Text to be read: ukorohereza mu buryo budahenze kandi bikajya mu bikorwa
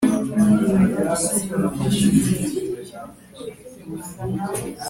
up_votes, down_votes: 1, 2